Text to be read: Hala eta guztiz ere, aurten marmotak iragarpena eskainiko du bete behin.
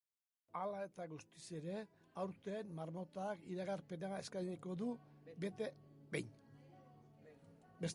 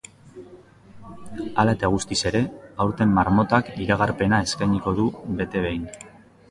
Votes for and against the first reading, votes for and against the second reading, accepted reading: 0, 2, 2, 0, second